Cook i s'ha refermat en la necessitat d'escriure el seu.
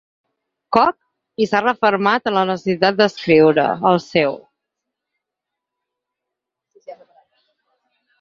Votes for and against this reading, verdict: 2, 4, rejected